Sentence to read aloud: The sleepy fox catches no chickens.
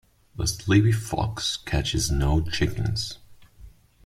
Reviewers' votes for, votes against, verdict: 1, 2, rejected